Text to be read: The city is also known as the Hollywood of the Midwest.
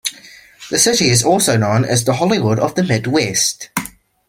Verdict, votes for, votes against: accepted, 2, 0